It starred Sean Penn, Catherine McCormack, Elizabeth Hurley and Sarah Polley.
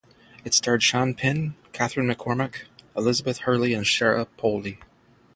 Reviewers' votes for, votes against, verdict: 3, 3, rejected